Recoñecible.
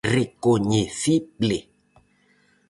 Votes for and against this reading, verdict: 2, 2, rejected